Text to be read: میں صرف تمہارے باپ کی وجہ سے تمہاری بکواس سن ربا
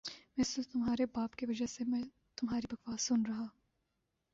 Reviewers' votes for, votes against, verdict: 1, 2, rejected